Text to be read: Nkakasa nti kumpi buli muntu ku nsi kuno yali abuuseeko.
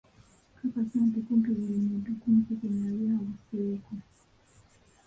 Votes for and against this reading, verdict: 1, 2, rejected